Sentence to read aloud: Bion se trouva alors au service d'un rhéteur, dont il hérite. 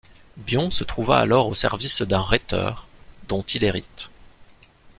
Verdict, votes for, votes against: accepted, 2, 0